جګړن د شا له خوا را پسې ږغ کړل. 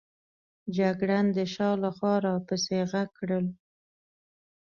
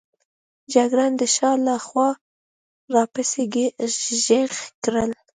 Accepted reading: first